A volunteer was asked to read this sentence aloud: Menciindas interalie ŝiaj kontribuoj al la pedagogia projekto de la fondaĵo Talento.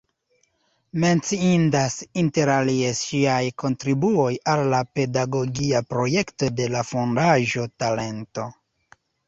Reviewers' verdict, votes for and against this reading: rejected, 1, 2